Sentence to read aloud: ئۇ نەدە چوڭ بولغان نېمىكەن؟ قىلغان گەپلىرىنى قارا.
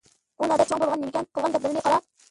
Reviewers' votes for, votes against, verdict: 0, 2, rejected